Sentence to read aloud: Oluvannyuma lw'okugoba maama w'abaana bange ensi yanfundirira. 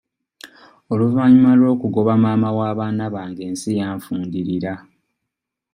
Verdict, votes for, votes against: accepted, 2, 0